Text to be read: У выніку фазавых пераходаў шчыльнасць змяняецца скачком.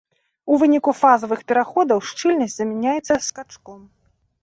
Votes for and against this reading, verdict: 0, 2, rejected